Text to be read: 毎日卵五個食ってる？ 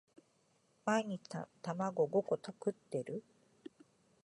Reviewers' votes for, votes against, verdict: 1, 2, rejected